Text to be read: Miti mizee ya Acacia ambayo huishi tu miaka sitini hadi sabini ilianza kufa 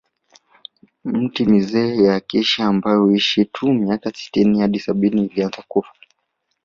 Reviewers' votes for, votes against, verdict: 2, 1, accepted